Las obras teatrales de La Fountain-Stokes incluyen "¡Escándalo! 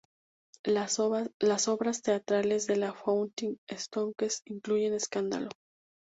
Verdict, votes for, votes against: rejected, 2, 2